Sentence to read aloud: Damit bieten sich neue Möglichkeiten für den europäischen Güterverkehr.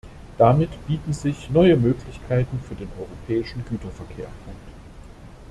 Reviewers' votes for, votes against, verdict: 0, 2, rejected